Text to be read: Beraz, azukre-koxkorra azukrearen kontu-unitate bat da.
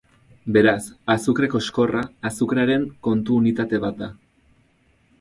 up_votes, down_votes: 4, 0